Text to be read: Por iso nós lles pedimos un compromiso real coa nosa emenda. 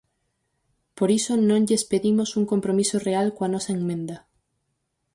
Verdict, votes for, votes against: rejected, 0, 4